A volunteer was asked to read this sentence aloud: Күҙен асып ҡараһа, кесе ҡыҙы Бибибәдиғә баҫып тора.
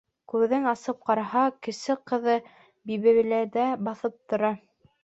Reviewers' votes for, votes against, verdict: 0, 2, rejected